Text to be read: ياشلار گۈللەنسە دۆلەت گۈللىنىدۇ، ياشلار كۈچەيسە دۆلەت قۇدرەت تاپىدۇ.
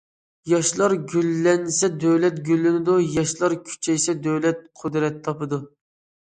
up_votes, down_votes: 2, 0